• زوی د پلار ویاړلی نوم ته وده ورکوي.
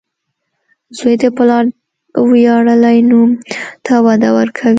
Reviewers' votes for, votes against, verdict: 2, 0, accepted